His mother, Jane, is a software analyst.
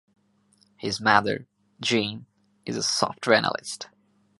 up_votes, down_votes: 2, 0